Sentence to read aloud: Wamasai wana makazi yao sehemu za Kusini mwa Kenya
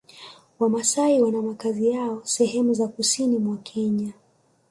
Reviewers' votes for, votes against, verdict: 2, 1, accepted